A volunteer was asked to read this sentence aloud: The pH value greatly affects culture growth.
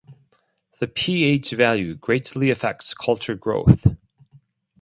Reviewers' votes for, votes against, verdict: 2, 4, rejected